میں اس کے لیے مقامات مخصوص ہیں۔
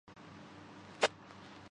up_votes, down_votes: 0, 2